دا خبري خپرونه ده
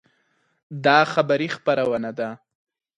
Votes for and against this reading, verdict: 4, 0, accepted